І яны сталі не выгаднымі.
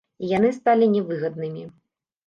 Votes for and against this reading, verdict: 1, 2, rejected